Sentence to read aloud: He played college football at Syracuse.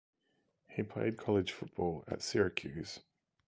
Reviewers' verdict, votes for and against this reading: accepted, 2, 0